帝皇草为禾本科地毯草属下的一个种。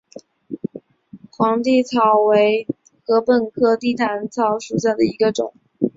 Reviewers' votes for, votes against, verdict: 3, 1, accepted